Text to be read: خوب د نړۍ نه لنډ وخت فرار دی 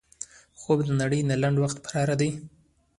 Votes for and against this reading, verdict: 2, 0, accepted